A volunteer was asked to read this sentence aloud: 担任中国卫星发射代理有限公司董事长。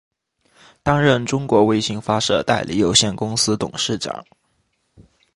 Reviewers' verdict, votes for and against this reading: accepted, 2, 0